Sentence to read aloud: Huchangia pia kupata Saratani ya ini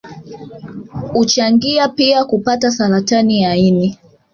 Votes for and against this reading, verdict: 1, 2, rejected